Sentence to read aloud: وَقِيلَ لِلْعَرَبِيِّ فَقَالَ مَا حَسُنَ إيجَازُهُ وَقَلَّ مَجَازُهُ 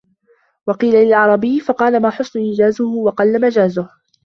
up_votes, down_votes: 1, 2